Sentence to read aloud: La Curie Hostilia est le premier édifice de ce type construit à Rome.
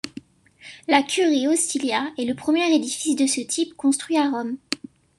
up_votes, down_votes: 2, 0